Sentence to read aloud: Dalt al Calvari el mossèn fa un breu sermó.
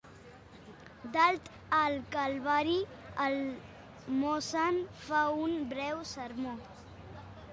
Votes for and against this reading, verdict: 1, 2, rejected